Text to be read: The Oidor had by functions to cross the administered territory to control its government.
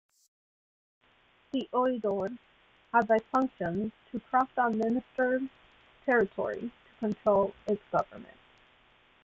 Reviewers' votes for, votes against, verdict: 2, 1, accepted